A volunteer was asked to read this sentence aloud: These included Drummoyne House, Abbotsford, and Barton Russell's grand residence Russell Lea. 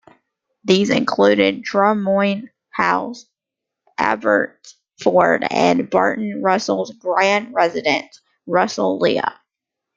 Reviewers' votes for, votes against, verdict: 0, 2, rejected